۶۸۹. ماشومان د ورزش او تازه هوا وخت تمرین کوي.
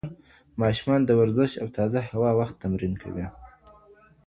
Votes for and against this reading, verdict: 0, 2, rejected